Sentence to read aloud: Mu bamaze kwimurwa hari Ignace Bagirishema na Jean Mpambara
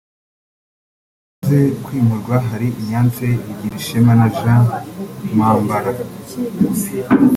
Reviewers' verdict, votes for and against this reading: rejected, 2, 3